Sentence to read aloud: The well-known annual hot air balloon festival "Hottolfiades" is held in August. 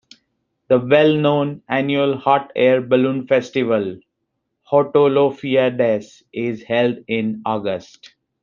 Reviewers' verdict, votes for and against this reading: accepted, 2, 1